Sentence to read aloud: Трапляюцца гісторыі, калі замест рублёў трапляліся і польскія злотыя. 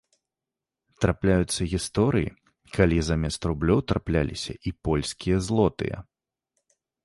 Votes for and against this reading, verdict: 2, 0, accepted